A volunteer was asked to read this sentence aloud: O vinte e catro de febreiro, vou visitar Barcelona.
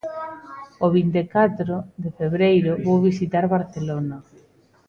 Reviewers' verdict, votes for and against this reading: accepted, 2, 0